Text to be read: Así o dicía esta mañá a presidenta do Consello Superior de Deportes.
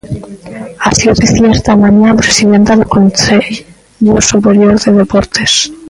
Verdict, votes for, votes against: rejected, 0, 2